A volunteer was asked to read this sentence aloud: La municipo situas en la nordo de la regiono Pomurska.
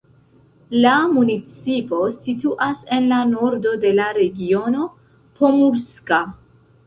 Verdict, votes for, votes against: accepted, 2, 0